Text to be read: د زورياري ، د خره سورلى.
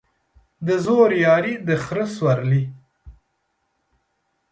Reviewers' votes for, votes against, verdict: 2, 0, accepted